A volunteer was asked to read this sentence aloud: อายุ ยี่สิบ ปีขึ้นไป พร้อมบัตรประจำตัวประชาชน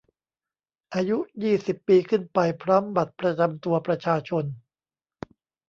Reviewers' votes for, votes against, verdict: 1, 2, rejected